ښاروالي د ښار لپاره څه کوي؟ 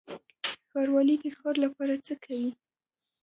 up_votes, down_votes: 1, 2